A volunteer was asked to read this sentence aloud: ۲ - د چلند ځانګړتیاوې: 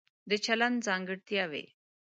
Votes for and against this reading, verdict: 0, 2, rejected